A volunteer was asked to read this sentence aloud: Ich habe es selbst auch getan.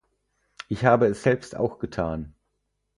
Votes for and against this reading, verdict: 4, 0, accepted